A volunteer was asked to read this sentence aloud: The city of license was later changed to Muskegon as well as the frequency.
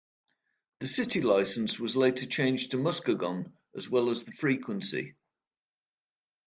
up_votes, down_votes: 0, 2